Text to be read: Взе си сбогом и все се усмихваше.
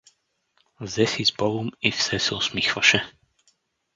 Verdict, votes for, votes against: accepted, 4, 0